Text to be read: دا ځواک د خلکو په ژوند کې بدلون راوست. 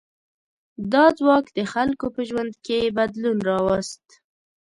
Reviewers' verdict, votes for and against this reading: accepted, 2, 0